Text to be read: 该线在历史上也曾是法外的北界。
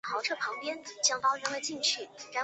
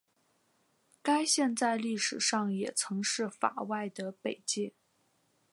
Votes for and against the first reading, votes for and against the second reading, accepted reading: 0, 2, 4, 0, second